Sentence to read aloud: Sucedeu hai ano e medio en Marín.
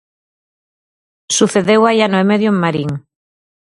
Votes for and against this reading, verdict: 4, 0, accepted